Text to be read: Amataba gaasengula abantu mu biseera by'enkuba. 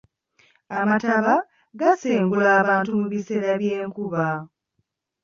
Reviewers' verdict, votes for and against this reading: accepted, 2, 0